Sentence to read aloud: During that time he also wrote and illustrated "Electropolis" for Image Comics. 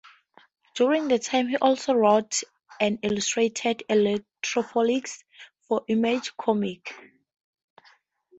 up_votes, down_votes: 2, 0